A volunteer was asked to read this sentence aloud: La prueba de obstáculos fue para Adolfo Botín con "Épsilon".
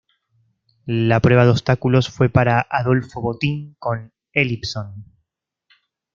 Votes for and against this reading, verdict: 0, 2, rejected